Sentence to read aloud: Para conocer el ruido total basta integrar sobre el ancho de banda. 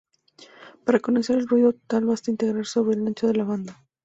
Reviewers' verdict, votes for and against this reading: rejected, 0, 2